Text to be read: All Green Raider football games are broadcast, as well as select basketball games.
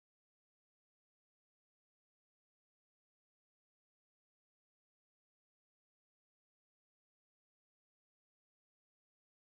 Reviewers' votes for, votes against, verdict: 0, 2, rejected